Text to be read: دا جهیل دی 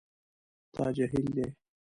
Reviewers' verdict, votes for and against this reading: rejected, 1, 2